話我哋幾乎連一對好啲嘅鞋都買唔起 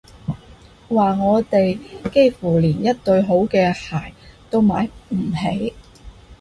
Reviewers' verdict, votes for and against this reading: rejected, 0, 2